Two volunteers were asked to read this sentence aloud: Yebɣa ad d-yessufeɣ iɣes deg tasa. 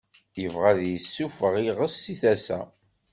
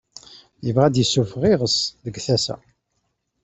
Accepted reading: second